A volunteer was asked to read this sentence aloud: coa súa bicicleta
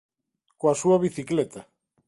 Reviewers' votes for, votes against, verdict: 2, 0, accepted